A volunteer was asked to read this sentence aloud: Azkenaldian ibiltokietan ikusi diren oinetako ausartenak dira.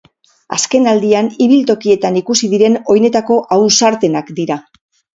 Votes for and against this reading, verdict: 4, 0, accepted